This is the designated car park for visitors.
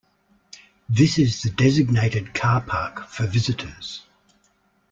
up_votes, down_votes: 2, 0